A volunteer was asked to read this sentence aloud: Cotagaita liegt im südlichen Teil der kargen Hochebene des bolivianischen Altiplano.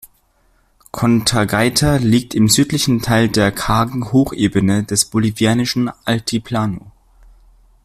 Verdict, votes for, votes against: rejected, 0, 2